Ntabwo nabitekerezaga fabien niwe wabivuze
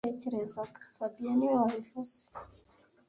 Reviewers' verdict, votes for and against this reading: rejected, 1, 2